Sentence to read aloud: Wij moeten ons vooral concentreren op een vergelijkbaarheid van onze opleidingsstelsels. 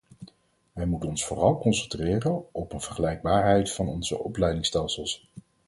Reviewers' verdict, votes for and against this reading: rejected, 2, 4